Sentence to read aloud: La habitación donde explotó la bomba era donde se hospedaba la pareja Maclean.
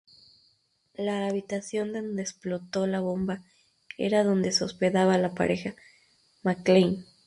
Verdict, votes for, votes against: rejected, 2, 2